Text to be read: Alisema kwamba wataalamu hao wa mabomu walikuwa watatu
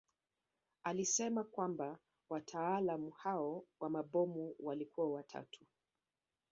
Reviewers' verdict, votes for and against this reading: accepted, 2, 0